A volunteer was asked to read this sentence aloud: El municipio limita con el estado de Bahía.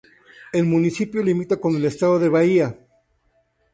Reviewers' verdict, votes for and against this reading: accepted, 2, 0